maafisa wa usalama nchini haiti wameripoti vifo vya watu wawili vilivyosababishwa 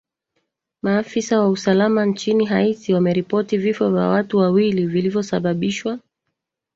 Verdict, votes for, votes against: rejected, 1, 2